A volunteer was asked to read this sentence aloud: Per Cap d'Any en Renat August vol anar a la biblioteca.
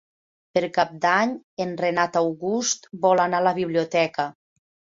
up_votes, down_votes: 3, 0